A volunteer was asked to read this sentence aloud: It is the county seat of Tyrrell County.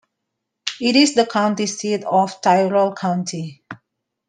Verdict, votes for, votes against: accepted, 2, 1